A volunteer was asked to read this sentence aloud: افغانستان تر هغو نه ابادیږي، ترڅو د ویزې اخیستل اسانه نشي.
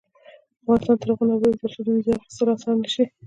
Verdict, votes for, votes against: rejected, 0, 2